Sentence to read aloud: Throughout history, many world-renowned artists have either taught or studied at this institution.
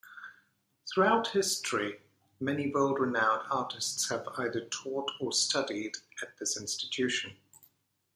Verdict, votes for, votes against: accepted, 2, 1